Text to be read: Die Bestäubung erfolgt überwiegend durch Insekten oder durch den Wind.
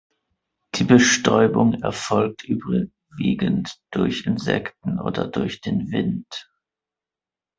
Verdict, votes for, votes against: rejected, 2, 3